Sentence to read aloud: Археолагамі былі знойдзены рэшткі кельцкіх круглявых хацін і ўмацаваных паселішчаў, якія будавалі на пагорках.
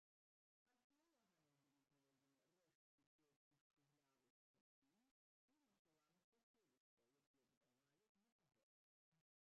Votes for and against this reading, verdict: 0, 2, rejected